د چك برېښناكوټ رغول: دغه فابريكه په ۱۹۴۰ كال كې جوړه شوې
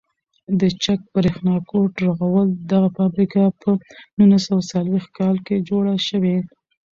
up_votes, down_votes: 0, 2